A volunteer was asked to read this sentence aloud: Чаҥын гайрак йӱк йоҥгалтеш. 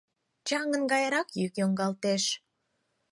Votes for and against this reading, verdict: 4, 0, accepted